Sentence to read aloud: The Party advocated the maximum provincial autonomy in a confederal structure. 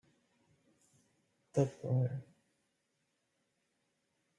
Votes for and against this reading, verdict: 0, 2, rejected